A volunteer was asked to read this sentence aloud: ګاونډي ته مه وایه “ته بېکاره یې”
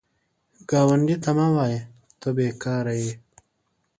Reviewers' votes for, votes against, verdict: 2, 0, accepted